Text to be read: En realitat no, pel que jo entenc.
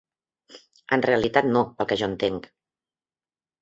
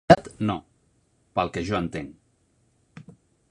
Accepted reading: first